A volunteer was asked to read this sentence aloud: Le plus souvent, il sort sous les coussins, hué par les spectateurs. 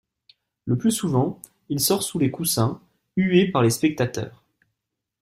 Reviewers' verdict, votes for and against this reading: accepted, 2, 0